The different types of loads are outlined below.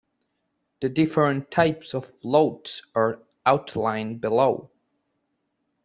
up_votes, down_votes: 2, 1